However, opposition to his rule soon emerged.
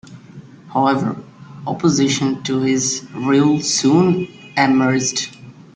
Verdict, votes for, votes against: accepted, 2, 1